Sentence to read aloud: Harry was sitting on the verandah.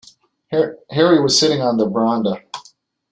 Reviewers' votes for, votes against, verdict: 2, 0, accepted